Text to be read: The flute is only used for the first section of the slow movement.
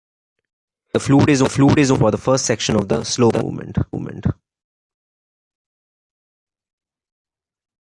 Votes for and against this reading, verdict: 1, 2, rejected